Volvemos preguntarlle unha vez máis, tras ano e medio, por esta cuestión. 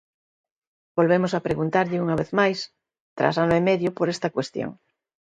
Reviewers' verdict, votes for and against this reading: rejected, 1, 2